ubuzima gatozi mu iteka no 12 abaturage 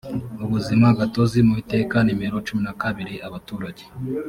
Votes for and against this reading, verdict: 0, 2, rejected